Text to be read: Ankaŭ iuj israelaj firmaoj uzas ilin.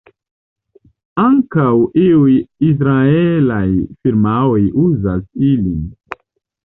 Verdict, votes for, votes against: accepted, 2, 0